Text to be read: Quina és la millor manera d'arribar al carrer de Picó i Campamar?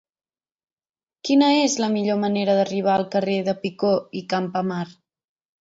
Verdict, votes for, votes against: accepted, 2, 0